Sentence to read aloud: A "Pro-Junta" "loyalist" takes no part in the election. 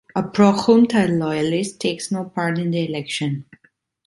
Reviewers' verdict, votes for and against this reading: accepted, 2, 1